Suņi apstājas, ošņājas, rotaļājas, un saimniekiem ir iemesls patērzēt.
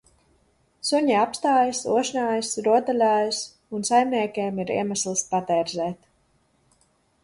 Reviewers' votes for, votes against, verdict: 3, 0, accepted